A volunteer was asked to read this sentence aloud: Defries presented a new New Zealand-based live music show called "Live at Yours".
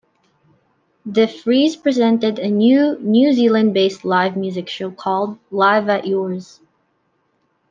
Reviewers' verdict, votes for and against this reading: accepted, 2, 0